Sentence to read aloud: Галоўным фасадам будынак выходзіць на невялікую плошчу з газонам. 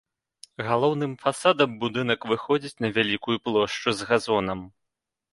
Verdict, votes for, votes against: rejected, 1, 2